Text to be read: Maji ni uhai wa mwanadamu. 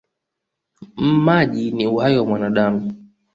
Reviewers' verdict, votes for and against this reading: accepted, 2, 0